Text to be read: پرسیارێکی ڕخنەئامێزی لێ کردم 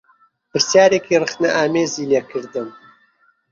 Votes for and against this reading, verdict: 0, 2, rejected